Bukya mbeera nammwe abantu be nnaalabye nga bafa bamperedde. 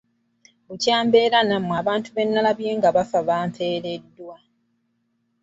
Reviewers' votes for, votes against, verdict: 0, 2, rejected